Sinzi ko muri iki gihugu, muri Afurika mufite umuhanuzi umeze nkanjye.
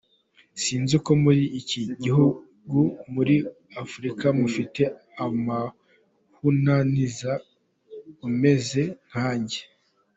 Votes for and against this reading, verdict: 0, 2, rejected